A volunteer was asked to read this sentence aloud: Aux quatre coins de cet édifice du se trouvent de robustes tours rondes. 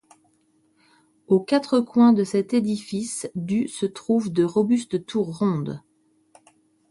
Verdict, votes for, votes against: accepted, 2, 0